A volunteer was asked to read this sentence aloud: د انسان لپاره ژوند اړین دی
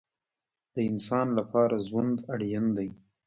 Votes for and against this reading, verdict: 0, 2, rejected